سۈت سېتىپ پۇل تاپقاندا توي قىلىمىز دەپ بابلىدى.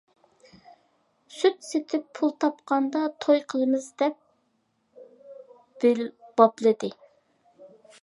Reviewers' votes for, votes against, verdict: 0, 2, rejected